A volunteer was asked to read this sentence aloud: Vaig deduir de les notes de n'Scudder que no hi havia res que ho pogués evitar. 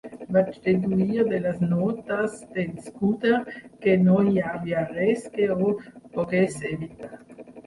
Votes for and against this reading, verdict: 2, 3, rejected